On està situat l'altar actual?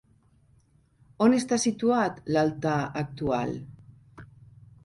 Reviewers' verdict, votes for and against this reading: accepted, 4, 0